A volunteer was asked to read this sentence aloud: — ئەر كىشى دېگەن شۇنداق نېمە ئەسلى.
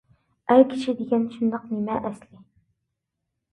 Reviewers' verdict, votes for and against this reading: accepted, 2, 0